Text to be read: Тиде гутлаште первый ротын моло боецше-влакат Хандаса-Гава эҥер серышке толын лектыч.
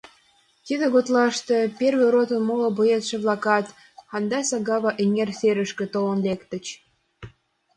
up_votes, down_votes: 2, 0